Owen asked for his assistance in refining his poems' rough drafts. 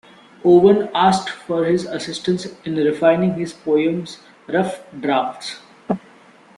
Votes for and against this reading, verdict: 2, 1, accepted